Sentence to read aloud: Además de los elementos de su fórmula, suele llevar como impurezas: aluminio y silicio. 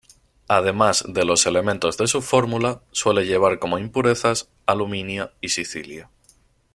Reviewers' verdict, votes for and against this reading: rejected, 0, 2